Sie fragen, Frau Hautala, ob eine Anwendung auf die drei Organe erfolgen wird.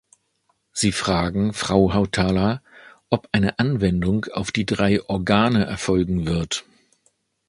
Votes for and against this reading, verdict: 2, 0, accepted